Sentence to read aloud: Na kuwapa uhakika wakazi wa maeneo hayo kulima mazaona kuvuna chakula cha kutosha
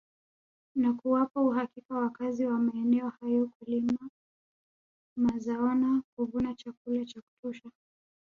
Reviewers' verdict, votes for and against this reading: accepted, 2, 1